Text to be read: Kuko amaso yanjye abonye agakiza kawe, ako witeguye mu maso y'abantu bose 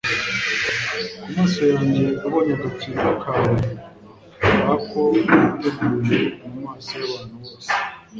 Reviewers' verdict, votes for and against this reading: rejected, 1, 2